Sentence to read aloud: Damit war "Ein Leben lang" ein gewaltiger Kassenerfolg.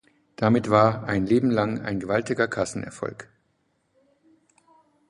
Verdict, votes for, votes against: accepted, 2, 0